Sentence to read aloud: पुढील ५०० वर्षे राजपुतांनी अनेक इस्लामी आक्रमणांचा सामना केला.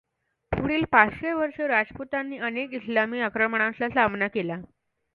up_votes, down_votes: 0, 2